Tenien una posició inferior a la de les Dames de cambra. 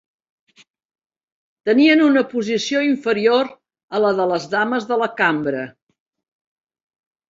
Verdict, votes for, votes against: rejected, 0, 3